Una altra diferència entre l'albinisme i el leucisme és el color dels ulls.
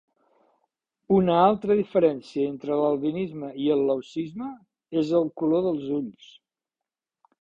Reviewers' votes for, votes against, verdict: 2, 0, accepted